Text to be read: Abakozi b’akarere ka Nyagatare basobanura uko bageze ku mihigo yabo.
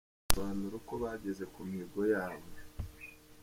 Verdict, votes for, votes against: rejected, 0, 2